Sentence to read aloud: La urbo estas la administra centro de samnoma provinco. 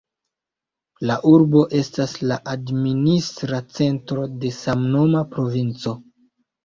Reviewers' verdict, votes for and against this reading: rejected, 0, 2